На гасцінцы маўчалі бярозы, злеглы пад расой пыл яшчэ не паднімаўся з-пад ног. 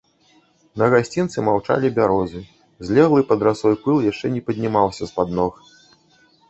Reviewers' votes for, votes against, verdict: 1, 2, rejected